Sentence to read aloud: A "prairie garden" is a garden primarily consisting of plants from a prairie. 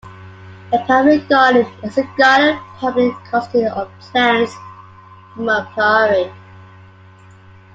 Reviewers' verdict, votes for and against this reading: rejected, 0, 2